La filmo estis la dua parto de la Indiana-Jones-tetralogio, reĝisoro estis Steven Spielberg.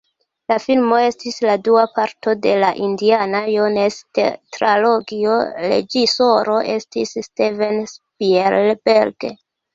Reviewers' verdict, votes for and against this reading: rejected, 0, 2